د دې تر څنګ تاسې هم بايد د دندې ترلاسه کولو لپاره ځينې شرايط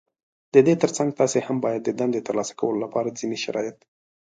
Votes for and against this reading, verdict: 2, 0, accepted